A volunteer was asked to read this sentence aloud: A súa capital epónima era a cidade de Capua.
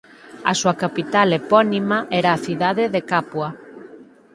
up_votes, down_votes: 4, 0